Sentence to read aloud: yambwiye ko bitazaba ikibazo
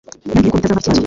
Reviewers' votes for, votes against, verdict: 0, 2, rejected